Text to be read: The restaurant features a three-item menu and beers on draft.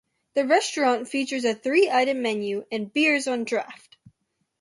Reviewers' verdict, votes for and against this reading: accepted, 2, 0